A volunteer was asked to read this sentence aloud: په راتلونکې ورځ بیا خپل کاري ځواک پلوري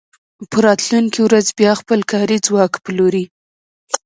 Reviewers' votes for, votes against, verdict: 2, 0, accepted